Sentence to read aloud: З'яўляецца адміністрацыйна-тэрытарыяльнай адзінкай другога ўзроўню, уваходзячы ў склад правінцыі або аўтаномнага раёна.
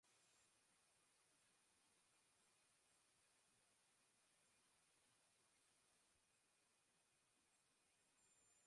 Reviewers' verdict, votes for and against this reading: rejected, 0, 3